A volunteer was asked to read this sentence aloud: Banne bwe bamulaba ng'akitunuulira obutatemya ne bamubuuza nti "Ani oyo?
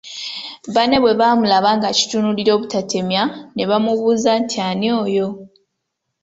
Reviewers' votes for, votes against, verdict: 2, 0, accepted